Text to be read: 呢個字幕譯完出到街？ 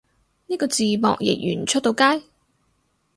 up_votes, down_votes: 4, 0